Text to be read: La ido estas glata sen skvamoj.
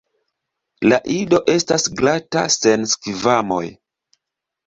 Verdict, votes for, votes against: accepted, 2, 0